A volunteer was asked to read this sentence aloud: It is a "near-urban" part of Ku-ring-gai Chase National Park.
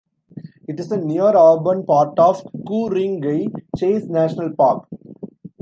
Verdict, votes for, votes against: rejected, 0, 2